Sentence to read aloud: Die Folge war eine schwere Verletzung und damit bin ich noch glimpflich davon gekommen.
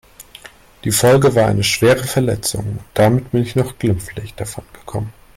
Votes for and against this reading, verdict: 1, 2, rejected